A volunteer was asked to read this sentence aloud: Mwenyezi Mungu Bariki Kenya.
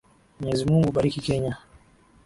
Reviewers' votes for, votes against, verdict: 2, 0, accepted